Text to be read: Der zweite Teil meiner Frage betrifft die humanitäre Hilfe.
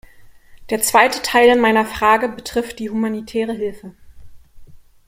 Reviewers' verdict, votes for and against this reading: accepted, 2, 0